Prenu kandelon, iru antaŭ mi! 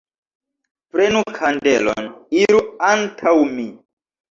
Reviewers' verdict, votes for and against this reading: accepted, 2, 0